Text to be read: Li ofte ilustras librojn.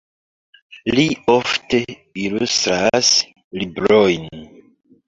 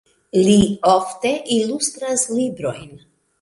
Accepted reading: second